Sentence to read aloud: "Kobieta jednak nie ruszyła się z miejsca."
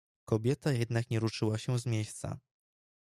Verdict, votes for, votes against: rejected, 1, 2